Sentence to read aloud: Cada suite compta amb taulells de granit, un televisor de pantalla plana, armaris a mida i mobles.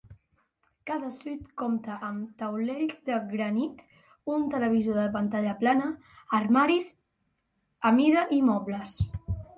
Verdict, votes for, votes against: rejected, 0, 2